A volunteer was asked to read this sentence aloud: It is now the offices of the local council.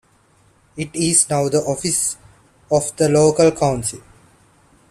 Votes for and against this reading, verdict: 0, 2, rejected